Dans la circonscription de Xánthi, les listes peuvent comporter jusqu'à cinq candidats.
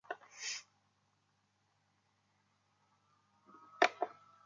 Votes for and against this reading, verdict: 0, 2, rejected